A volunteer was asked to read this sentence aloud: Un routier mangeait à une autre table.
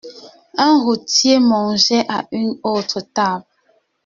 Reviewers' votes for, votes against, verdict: 2, 0, accepted